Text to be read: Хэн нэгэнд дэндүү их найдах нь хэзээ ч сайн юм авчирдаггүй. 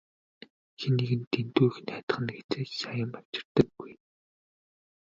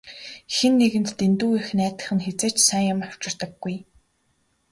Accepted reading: second